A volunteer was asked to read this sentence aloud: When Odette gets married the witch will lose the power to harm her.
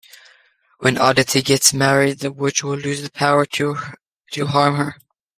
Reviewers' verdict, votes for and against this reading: accepted, 2, 1